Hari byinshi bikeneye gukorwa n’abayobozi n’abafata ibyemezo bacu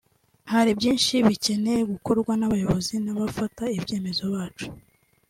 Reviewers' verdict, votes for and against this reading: accepted, 2, 0